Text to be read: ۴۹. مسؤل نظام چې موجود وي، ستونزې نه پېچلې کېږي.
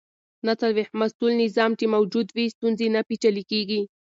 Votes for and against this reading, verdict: 0, 2, rejected